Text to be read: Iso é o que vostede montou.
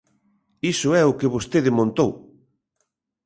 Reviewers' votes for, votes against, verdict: 2, 0, accepted